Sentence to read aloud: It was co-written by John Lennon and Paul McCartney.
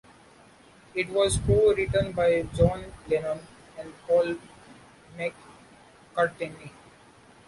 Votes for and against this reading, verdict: 0, 2, rejected